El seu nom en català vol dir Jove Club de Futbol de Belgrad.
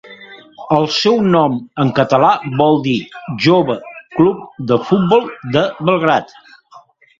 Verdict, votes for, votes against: rejected, 1, 2